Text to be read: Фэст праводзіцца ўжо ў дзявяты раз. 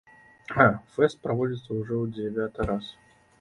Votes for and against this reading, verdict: 2, 1, accepted